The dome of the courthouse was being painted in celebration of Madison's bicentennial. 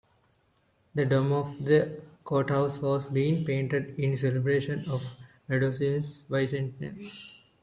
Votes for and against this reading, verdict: 2, 3, rejected